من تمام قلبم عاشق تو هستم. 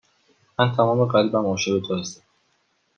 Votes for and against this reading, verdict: 2, 0, accepted